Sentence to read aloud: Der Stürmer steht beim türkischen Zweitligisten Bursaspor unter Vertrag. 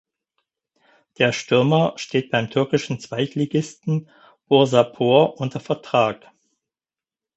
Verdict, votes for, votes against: rejected, 2, 4